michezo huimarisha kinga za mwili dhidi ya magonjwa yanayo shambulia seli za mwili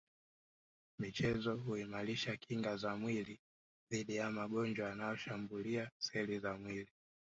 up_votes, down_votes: 1, 2